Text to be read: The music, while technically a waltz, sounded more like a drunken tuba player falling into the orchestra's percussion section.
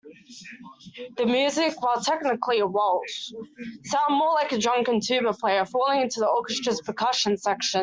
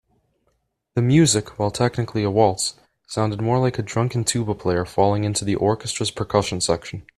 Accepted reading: second